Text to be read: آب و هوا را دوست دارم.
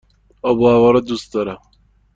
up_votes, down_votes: 2, 0